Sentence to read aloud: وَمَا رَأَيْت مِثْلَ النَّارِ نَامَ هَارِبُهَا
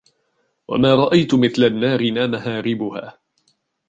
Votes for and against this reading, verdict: 0, 2, rejected